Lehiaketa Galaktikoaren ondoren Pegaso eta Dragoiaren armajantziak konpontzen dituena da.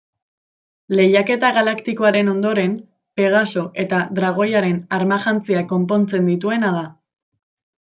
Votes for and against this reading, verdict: 2, 0, accepted